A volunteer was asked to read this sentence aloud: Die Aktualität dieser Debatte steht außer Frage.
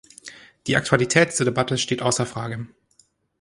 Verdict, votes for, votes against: rejected, 1, 2